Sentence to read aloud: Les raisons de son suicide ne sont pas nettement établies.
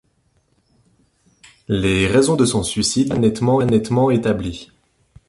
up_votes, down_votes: 0, 2